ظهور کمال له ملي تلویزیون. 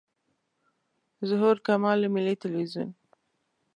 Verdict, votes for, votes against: accepted, 2, 0